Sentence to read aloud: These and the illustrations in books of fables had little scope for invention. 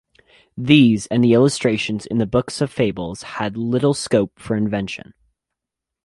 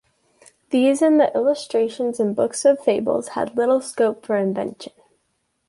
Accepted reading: second